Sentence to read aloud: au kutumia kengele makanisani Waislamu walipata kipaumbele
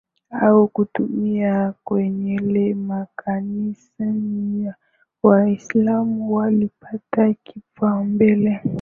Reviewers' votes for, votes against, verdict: 10, 6, accepted